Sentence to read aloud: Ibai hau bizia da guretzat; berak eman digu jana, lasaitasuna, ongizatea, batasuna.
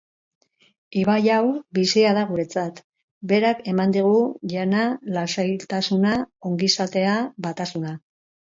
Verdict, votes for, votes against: accepted, 4, 2